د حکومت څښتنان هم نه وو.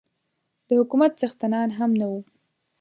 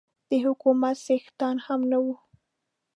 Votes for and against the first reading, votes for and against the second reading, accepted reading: 8, 0, 0, 2, first